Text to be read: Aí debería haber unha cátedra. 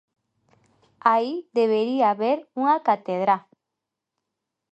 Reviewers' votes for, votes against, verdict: 0, 2, rejected